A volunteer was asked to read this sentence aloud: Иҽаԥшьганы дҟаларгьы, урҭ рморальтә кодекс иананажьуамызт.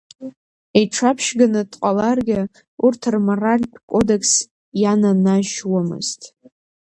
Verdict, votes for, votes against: rejected, 1, 2